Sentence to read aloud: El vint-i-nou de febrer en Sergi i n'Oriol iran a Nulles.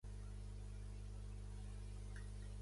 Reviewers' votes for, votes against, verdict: 0, 2, rejected